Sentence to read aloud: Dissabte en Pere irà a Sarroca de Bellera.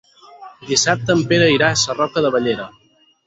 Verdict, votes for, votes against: rejected, 2, 4